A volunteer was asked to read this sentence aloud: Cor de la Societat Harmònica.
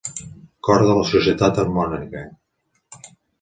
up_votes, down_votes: 2, 0